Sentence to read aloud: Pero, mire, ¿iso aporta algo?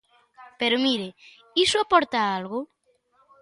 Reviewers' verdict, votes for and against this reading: accepted, 2, 0